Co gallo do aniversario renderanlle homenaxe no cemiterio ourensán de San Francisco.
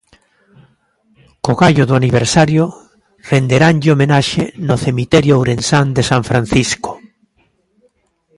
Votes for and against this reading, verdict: 2, 1, accepted